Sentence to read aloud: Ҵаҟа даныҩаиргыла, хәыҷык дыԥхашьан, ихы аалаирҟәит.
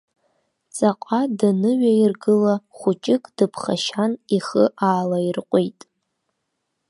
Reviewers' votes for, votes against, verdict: 2, 0, accepted